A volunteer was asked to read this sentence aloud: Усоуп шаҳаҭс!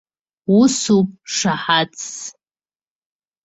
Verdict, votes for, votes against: accepted, 2, 0